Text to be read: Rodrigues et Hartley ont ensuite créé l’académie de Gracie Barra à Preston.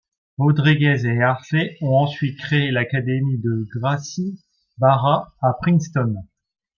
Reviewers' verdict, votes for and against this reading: rejected, 1, 2